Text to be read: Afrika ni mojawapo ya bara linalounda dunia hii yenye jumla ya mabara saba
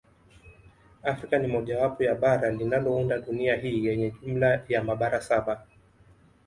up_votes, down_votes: 2, 0